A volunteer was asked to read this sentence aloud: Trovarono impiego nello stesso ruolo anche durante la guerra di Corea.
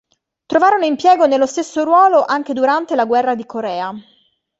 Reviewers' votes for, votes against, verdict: 2, 0, accepted